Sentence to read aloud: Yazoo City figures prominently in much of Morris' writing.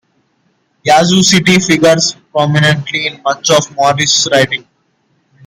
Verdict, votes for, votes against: accepted, 2, 1